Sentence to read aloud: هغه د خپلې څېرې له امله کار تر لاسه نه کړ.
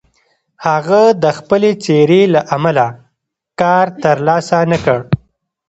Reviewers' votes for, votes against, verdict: 1, 2, rejected